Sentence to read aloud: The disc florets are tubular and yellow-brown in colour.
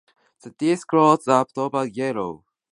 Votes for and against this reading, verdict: 0, 2, rejected